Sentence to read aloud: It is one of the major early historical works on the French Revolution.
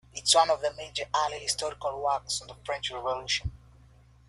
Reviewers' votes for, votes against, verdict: 0, 2, rejected